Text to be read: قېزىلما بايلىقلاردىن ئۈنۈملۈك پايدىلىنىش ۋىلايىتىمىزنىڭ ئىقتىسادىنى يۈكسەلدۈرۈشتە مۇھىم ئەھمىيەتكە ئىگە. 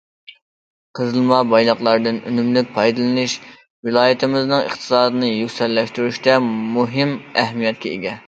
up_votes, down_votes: 0, 2